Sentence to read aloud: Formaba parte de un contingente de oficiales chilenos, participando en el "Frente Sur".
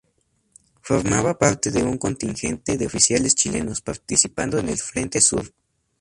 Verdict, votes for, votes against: accepted, 2, 0